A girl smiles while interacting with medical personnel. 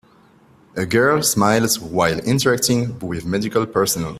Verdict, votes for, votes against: accepted, 2, 0